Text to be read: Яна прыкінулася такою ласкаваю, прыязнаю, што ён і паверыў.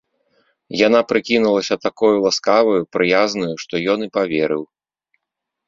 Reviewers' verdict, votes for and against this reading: accepted, 4, 0